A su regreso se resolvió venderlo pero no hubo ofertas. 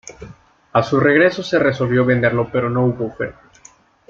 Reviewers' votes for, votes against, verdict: 2, 0, accepted